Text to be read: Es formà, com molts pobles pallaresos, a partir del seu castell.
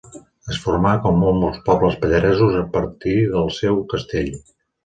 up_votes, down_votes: 1, 2